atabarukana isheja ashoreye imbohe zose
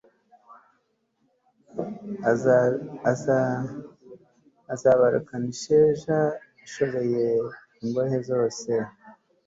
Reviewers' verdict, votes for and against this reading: rejected, 0, 2